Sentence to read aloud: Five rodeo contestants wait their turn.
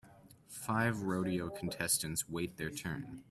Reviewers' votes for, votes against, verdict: 2, 0, accepted